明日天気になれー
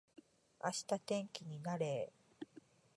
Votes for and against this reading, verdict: 2, 0, accepted